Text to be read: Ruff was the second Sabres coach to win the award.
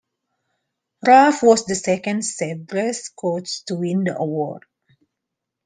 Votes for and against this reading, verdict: 0, 2, rejected